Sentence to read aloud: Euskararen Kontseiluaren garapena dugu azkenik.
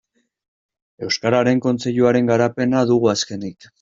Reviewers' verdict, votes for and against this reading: accepted, 2, 0